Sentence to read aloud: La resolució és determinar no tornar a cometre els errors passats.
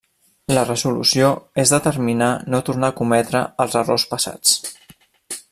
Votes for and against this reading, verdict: 1, 2, rejected